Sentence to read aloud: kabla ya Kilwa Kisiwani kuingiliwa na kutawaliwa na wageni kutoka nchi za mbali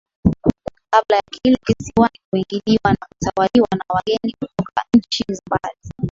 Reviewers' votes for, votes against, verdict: 3, 1, accepted